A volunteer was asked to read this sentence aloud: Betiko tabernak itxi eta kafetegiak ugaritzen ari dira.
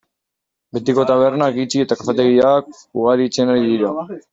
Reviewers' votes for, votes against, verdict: 1, 2, rejected